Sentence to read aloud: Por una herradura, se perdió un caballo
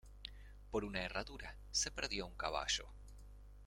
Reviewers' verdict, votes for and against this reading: rejected, 1, 2